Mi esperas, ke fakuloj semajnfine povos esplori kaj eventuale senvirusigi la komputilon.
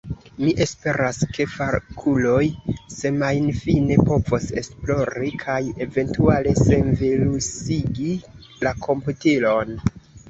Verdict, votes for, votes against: rejected, 1, 2